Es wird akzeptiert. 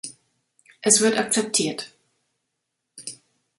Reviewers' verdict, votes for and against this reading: accepted, 2, 0